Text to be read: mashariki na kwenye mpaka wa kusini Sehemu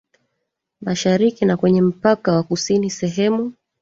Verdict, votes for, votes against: accepted, 2, 1